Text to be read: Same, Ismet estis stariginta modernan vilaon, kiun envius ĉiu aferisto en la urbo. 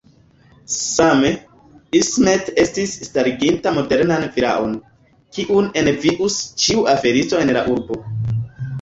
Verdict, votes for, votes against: accepted, 2, 0